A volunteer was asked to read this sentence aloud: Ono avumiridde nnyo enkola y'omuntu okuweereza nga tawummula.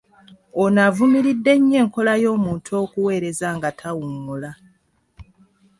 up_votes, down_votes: 2, 0